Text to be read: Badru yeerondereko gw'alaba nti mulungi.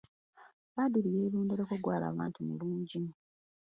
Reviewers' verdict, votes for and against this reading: accepted, 2, 0